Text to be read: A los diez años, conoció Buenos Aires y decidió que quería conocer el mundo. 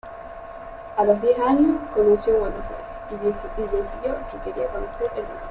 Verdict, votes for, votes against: accepted, 2, 1